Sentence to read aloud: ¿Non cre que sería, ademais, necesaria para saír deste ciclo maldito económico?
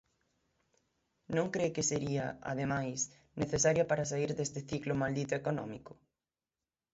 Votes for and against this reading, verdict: 3, 6, rejected